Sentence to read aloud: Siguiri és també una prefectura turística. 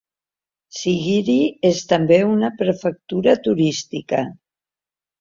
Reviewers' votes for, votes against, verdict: 2, 1, accepted